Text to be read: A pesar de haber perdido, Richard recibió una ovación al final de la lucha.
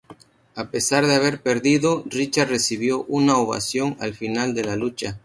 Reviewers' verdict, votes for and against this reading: rejected, 0, 2